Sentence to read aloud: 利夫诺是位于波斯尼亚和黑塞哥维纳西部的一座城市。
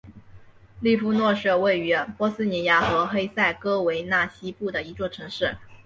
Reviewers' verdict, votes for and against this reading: accepted, 2, 1